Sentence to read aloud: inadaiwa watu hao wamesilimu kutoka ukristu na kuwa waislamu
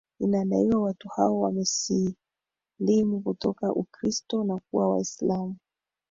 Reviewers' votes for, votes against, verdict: 1, 4, rejected